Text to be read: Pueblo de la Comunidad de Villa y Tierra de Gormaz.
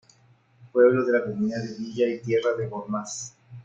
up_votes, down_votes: 3, 0